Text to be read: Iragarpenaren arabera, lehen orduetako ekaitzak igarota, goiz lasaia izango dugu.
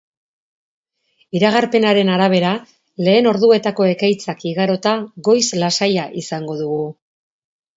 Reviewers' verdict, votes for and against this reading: accepted, 3, 0